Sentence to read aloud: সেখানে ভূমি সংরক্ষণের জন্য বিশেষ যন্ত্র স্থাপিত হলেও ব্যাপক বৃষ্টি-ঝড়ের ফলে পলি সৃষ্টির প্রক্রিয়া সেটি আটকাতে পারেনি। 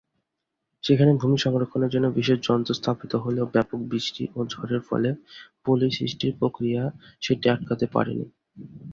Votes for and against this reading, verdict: 0, 2, rejected